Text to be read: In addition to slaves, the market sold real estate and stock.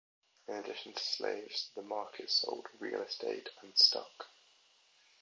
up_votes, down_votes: 2, 0